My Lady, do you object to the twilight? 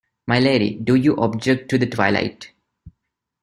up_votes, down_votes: 2, 0